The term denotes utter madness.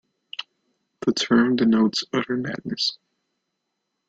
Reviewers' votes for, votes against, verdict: 2, 1, accepted